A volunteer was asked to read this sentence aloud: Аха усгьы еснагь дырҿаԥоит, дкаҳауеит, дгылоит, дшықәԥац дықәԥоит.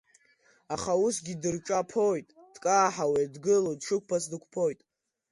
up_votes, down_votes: 1, 2